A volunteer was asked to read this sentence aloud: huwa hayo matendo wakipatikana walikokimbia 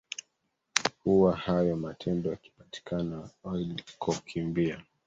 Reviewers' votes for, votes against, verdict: 1, 2, rejected